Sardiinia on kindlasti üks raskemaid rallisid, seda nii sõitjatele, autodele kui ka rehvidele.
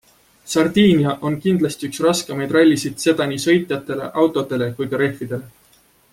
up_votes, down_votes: 2, 0